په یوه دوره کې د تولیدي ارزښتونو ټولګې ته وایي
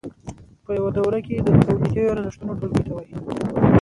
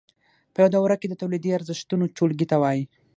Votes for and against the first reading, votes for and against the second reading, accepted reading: 2, 1, 3, 6, first